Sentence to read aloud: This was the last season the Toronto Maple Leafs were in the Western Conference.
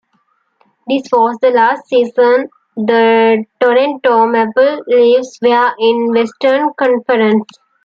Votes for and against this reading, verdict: 0, 2, rejected